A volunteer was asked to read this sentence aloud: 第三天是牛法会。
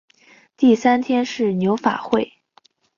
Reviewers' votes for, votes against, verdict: 12, 0, accepted